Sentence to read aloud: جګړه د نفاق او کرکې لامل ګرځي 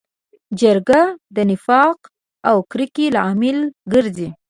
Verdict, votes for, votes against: accepted, 2, 0